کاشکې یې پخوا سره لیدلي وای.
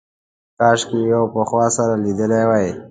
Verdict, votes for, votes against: accepted, 2, 0